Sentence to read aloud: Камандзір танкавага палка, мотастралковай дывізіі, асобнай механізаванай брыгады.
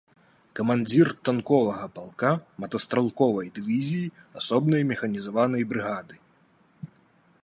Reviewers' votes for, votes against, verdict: 0, 2, rejected